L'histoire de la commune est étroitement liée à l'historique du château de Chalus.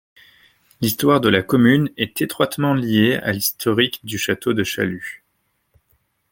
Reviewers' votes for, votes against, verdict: 1, 2, rejected